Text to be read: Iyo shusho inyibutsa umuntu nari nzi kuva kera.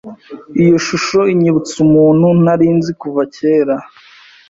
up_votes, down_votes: 2, 0